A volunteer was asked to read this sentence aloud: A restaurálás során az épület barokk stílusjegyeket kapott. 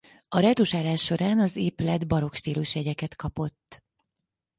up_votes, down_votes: 2, 4